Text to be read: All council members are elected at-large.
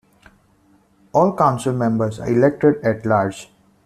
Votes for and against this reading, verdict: 2, 0, accepted